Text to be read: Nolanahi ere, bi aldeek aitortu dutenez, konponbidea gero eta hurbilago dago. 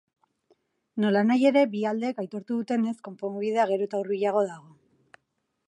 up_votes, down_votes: 4, 0